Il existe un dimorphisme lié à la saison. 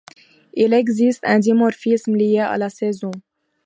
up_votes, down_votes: 2, 0